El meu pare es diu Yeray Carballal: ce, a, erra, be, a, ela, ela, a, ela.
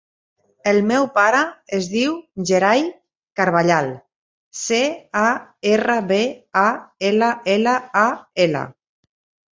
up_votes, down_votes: 2, 0